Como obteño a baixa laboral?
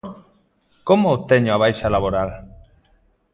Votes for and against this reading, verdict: 2, 0, accepted